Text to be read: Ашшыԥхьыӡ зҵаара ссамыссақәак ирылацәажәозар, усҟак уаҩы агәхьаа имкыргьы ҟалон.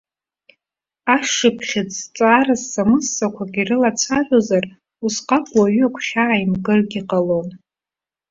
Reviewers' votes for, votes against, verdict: 2, 0, accepted